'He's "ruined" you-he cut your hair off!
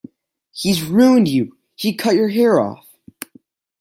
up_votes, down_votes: 2, 0